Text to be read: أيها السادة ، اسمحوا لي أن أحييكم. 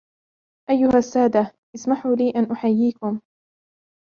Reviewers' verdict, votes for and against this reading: accepted, 2, 0